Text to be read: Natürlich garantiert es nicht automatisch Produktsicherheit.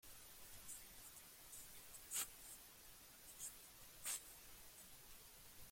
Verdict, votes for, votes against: rejected, 0, 2